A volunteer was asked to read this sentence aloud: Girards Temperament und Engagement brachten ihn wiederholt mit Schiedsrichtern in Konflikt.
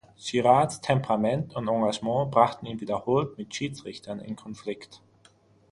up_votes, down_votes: 6, 0